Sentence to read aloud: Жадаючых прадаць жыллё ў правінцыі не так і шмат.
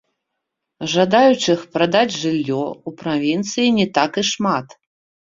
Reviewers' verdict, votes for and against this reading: accepted, 2, 0